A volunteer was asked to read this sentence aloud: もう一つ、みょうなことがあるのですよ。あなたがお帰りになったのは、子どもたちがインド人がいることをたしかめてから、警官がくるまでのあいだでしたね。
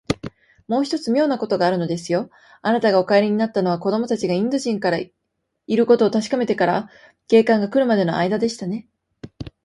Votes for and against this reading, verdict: 2, 0, accepted